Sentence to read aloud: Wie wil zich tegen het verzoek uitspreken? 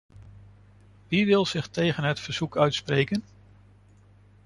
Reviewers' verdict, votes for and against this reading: accepted, 2, 0